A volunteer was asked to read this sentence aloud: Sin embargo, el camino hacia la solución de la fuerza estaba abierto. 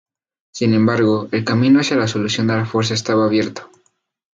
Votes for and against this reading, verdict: 2, 2, rejected